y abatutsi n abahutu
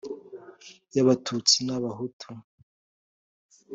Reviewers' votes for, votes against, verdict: 3, 0, accepted